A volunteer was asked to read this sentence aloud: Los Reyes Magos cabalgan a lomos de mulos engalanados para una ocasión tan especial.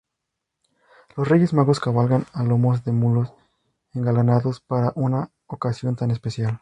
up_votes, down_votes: 2, 0